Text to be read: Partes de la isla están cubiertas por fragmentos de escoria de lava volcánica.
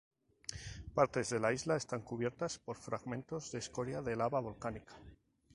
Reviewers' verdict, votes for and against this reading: accepted, 2, 0